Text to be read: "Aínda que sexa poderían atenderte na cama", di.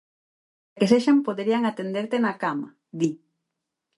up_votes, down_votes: 0, 4